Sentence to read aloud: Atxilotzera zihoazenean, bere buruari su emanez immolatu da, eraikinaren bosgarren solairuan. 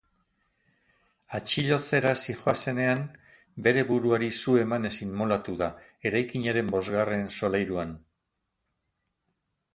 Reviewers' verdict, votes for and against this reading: rejected, 2, 2